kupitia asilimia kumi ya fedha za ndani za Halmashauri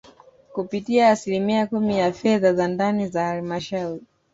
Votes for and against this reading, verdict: 0, 2, rejected